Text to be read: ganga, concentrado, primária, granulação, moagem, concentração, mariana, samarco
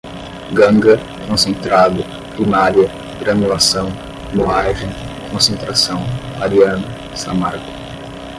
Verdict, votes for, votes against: rejected, 5, 5